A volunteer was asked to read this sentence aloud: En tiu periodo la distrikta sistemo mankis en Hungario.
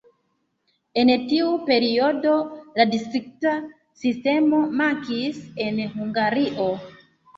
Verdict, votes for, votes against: accepted, 2, 1